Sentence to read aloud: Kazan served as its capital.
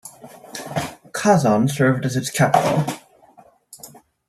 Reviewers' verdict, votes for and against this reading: rejected, 0, 2